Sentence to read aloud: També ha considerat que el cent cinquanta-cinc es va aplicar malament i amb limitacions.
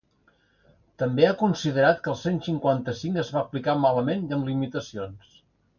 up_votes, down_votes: 2, 0